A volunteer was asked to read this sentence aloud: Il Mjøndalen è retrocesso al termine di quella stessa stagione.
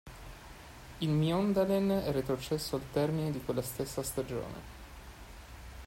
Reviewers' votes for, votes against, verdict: 2, 0, accepted